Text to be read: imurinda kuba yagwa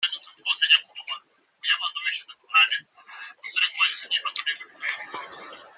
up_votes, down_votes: 0, 3